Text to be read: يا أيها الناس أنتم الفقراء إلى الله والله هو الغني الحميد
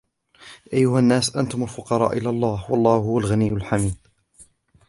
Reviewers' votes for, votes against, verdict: 2, 0, accepted